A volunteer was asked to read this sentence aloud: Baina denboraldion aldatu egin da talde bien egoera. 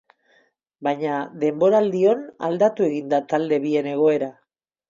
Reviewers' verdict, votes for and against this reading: accepted, 4, 0